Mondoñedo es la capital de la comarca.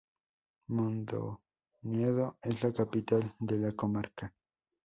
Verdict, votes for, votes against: rejected, 0, 2